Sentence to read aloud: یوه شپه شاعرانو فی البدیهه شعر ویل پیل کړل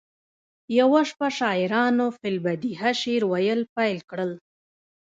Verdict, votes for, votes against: rejected, 0, 2